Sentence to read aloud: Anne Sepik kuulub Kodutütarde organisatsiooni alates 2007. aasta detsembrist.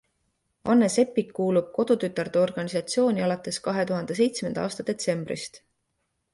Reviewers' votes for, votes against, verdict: 0, 2, rejected